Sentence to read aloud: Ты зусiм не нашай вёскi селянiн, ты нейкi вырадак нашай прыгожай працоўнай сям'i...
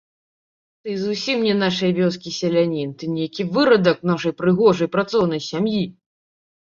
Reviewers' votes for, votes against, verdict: 0, 2, rejected